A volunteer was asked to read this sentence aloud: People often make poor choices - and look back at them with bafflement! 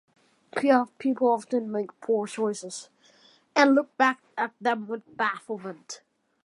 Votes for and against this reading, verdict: 1, 2, rejected